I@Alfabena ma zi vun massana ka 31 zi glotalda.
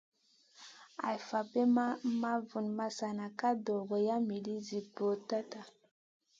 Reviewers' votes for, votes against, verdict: 0, 2, rejected